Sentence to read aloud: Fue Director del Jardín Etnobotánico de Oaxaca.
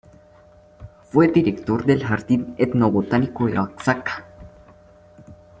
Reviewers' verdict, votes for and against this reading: rejected, 0, 2